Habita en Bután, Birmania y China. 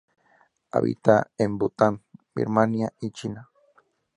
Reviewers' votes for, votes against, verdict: 2, 0, accepted